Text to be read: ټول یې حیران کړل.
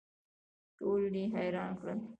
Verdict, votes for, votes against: rejected, 1, 2